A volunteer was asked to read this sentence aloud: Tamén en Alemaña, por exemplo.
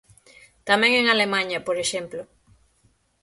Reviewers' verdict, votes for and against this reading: accepted, 6, 3